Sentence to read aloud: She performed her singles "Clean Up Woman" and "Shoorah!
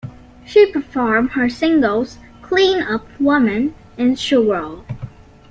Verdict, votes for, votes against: accepted, 2, 0